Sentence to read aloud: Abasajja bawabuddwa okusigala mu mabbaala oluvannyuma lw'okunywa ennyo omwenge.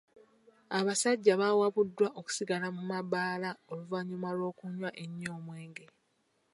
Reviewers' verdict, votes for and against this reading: accepted, 2, 1